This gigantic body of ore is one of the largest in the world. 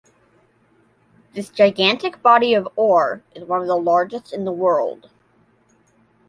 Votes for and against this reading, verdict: 2, 0, accepted